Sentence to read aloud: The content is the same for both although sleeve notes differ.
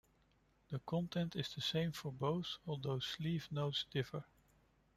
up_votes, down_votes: 0, 2